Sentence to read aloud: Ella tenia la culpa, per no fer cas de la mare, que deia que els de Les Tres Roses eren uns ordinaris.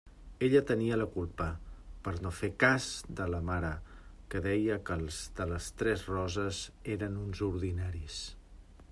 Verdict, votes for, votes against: accepted, 3, 0